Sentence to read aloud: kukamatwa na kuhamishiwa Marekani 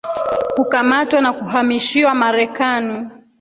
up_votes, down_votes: 0, 2